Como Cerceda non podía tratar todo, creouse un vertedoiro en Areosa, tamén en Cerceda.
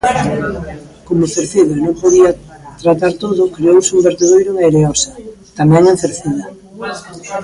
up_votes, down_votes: 0, 2